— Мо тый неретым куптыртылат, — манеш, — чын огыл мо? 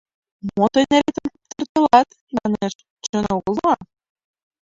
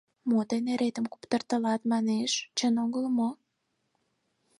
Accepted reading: second